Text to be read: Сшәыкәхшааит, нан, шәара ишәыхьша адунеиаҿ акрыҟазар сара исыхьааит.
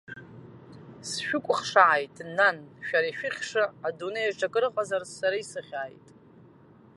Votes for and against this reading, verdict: 2, 0, accepted